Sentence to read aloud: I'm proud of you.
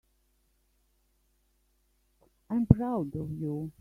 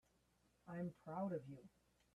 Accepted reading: first